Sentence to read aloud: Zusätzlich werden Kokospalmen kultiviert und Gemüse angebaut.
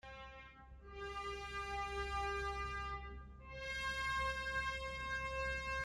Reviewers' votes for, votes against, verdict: 0, 2, rejected